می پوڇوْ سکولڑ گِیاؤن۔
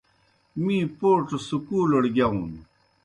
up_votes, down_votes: 2, 0